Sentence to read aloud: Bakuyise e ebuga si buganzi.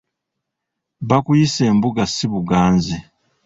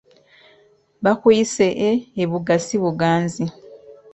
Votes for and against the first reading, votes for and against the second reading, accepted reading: 0, 2, 2, 0, second